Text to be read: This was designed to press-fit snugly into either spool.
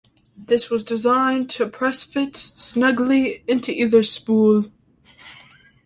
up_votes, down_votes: 2, 0